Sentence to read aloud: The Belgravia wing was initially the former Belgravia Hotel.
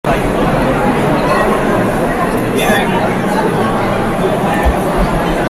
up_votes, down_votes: 0, 2